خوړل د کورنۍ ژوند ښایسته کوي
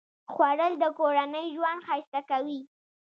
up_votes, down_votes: 3, 0